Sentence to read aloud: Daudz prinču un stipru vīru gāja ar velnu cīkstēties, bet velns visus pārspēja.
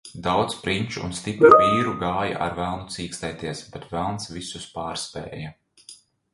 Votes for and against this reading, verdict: 2, 0, accepted